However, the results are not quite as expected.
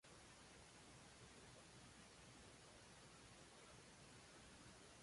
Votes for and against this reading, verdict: 0, 2, rejected